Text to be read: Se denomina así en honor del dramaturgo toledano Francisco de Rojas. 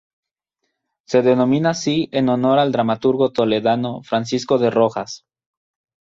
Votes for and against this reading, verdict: 0, 2, rejected